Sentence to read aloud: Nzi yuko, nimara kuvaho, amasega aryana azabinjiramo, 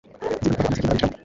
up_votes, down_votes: 1, 2